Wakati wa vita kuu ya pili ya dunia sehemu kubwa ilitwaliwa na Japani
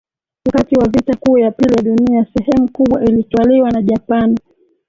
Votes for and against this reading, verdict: 1, 2, rejected